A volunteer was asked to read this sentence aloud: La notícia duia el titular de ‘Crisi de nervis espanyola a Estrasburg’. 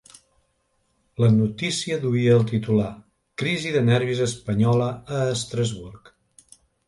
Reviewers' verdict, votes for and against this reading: rejected, 1, 3